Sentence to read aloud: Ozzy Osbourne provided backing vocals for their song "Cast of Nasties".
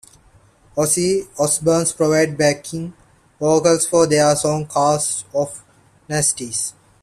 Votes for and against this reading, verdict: 2, 1, accepted